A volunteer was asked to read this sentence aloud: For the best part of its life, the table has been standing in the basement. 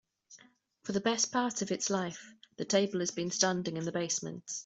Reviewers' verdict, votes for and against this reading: accepted, 2, 0